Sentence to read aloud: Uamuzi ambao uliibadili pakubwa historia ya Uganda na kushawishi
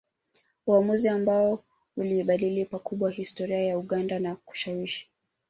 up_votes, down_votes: 1, 2